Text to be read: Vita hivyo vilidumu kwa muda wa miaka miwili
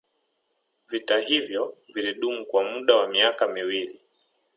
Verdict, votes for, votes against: rejected, 0, 2